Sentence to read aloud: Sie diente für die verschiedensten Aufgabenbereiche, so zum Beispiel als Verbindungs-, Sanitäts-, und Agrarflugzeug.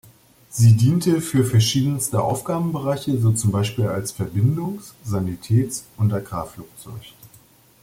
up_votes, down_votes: 0, 2